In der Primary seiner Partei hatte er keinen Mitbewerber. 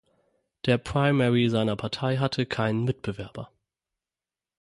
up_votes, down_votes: 0, 6